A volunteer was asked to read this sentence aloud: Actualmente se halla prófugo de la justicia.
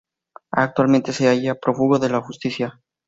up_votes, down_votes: 2, 0